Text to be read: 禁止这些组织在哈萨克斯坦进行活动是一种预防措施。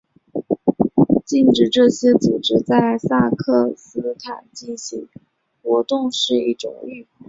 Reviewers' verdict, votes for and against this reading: rejected, 3, 5